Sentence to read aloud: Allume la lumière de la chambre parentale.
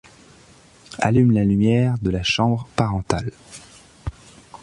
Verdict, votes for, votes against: accepted, 2, 0